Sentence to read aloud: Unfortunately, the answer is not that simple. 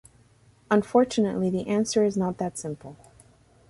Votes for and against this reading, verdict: 2, 0, accepted